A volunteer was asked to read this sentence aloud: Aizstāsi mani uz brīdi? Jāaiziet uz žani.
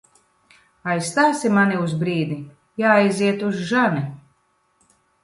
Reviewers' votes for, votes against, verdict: 2, 0, accepted